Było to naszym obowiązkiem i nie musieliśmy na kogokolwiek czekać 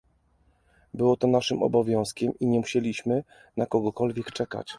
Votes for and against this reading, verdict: 2, 0, accepted